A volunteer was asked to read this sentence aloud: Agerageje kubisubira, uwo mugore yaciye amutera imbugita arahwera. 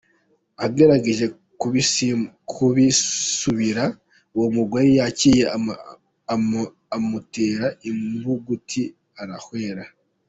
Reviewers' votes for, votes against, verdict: 0, 2, rejected